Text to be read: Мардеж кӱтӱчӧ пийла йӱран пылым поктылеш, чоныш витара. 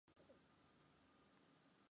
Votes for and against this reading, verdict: 0, 2, rejected